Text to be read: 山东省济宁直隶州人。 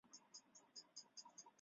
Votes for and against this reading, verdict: 0, 3, rejected